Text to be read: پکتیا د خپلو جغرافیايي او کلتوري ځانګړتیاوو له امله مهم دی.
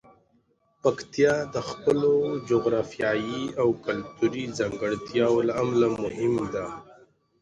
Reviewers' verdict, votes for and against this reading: rejected, 0, 2